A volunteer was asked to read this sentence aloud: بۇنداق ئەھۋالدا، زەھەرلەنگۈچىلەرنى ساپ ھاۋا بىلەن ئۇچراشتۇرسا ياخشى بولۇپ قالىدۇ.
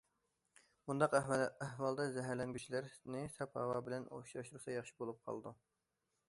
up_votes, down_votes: 0, 2